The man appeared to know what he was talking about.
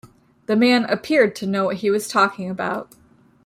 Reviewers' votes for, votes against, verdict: 2, 0, accepted